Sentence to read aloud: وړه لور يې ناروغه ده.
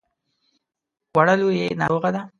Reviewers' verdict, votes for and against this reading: accepted, 2, 0